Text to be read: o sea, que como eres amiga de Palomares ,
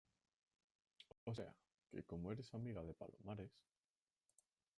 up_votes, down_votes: 1, 2